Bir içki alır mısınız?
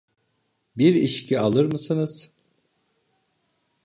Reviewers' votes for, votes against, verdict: 2, 0, accepted